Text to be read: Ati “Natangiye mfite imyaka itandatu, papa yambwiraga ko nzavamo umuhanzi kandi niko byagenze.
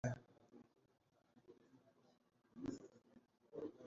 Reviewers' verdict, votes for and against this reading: rejected, 0, 2